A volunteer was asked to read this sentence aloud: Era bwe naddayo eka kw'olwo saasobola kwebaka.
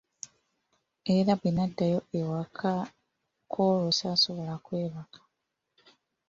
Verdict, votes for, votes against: accepted, 2, 1